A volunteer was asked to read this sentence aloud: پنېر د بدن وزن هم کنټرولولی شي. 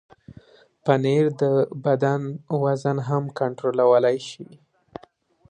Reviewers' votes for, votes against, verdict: 2, 0, accepted